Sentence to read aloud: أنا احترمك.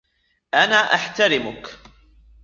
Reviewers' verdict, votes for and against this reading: accepted, 2, 1